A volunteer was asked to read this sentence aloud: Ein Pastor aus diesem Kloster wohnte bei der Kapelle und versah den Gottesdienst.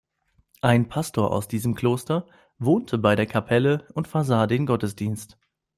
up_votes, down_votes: 2, 0